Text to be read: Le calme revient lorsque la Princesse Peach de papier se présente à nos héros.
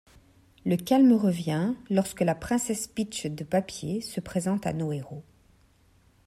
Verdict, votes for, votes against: accepted, 2, 0